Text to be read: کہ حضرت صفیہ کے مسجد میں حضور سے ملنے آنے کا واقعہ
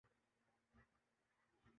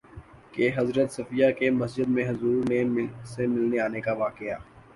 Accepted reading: second